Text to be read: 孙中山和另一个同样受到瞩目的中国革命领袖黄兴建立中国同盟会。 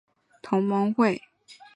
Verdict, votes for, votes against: rejected, 0, 2